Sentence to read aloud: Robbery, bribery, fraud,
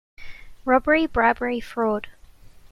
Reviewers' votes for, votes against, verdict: 2, 0, accepted